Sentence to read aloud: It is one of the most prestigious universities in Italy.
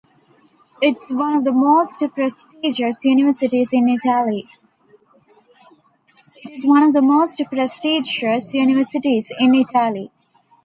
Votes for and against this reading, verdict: 1, 2, rejected